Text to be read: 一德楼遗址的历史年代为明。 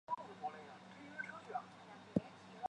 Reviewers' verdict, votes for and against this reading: rejected, 0, 2